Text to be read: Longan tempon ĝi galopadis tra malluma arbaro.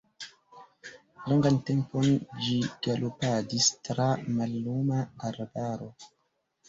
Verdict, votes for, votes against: rejected, 0, 2